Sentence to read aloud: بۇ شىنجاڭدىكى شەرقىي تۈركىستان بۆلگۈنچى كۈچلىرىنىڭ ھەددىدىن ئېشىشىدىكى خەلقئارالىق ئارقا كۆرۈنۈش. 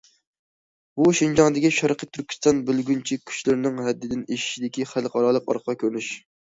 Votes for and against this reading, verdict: 2, 0, accepted